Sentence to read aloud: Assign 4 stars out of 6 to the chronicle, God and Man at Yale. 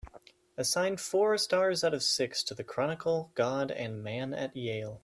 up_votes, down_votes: 0, 2